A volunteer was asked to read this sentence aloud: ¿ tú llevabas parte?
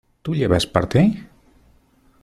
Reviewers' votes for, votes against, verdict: 0, 2, rejected